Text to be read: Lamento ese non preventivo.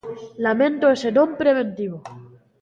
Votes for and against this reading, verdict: 0, 2, rejected